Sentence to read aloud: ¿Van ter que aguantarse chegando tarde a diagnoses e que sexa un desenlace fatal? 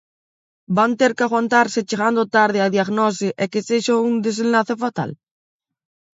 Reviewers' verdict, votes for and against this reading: rejected, 1, 2